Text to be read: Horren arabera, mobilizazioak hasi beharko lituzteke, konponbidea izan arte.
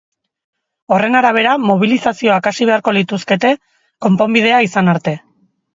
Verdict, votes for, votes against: accepted, 2, 0